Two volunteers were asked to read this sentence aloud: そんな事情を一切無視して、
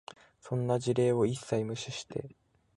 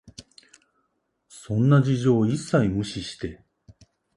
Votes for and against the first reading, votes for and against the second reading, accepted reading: 1, 2, 8, 0, second